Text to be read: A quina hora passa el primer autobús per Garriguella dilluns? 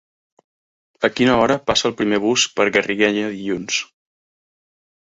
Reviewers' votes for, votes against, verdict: 0, 3, rejected